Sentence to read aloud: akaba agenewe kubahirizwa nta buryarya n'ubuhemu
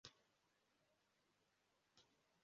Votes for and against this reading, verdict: 0, 2, rejected